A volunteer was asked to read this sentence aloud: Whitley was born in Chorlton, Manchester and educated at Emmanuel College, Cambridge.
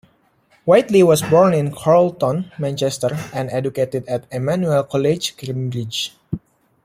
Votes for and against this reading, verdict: 0, 2, rejected